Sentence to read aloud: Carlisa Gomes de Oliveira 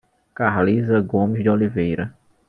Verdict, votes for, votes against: accepted, 2, 0